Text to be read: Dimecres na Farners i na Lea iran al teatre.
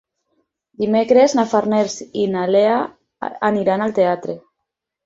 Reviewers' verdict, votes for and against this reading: rejected, 0, 4